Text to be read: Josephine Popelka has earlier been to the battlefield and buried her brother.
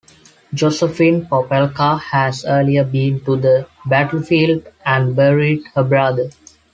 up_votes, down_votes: 2, 1